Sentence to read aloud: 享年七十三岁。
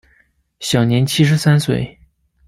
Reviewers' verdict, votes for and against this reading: accepted, 2, 0